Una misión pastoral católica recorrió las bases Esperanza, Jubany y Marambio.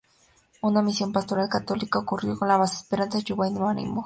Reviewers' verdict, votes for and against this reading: rejected, 2, 4